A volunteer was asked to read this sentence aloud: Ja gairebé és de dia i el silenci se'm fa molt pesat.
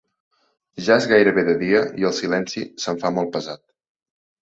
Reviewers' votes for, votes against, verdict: 1, 2, rejected